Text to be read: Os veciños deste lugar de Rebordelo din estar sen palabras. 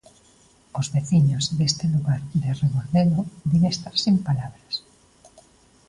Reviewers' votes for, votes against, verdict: 2, 0, accepted